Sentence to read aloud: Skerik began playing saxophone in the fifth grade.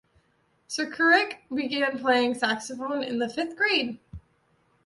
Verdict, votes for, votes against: rejected, 1, 2